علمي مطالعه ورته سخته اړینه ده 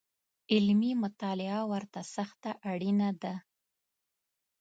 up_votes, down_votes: 2, 0